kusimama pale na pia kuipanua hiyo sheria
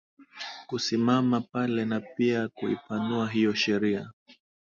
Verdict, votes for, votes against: accepted, 2, 0